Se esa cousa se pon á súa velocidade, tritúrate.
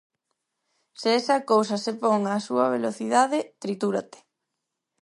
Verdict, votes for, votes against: accepted, 4, 0